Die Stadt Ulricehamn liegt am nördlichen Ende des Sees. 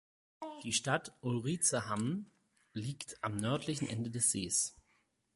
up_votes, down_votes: 4, 0